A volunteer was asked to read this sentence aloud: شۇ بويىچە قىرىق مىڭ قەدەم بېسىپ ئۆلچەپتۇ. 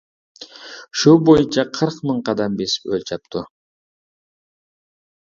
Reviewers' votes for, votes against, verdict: 2, 0, accepted